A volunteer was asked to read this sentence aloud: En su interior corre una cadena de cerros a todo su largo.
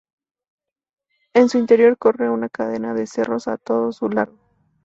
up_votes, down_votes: 2, 2